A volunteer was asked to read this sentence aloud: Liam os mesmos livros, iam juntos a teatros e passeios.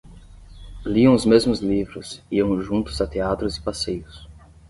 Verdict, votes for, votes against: accepted, 10, 0